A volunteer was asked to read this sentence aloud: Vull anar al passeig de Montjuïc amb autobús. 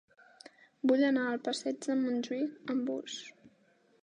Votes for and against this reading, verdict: 0, 2, rejected